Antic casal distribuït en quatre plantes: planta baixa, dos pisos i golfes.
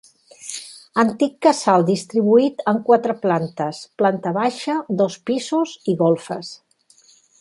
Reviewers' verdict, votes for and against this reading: accepted, 2, 0